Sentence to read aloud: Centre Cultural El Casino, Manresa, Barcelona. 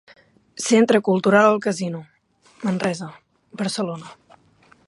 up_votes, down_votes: 2, 0